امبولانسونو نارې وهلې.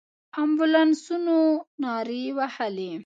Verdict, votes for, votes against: accepted, 2, 0